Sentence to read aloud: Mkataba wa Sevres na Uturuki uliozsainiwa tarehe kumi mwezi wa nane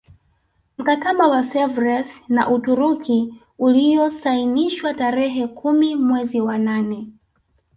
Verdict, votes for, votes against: rejected, 0, 2